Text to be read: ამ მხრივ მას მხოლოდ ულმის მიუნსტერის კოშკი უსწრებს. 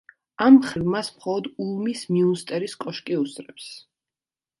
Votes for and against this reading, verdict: 2, 0, accepted